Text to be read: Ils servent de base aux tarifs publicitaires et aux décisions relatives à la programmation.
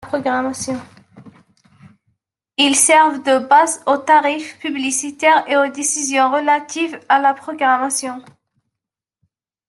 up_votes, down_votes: 0, 2